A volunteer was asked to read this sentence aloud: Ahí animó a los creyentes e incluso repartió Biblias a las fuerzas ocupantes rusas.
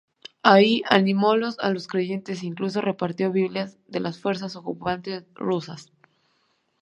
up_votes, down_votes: 1, 2